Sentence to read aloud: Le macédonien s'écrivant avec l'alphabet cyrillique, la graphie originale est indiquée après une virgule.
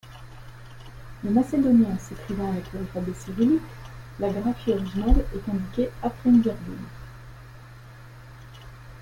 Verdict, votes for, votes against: accepted, 2, 1